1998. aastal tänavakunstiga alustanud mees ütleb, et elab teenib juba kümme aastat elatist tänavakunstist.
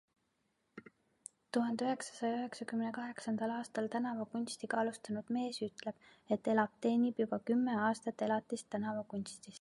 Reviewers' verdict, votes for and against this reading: rejected, 0, 2